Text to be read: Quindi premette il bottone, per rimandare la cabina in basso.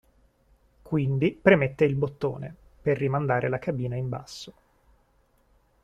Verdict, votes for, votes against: accepted, 2, 0